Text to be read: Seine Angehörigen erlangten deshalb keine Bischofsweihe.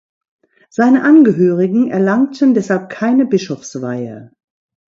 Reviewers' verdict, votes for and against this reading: accepted, 2, 0